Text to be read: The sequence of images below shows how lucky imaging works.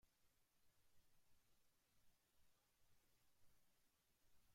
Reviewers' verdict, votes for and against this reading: rejected, 0, 2